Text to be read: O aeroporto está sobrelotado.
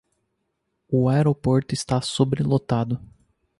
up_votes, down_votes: 2, 0